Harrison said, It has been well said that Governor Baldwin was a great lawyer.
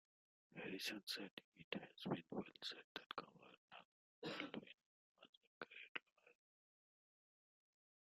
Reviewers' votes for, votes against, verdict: 0, 2, rejected